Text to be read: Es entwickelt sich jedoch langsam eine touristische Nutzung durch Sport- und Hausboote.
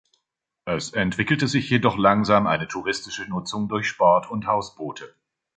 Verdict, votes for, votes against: accepted, 2, 1